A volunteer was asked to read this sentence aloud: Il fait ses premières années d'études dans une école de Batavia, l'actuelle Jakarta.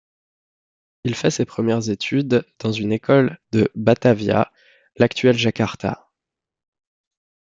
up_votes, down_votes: 0, 2